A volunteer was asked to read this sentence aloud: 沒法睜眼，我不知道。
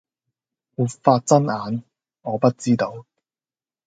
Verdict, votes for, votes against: accepted, 2, 0